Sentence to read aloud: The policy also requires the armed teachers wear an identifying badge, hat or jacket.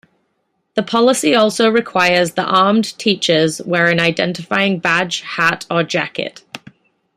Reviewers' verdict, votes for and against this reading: accepted, 2, 0